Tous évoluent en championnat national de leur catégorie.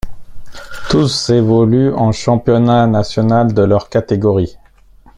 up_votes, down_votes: 2, 0